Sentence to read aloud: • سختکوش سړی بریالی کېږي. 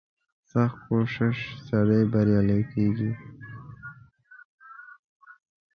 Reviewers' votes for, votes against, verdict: 0, 2, rejected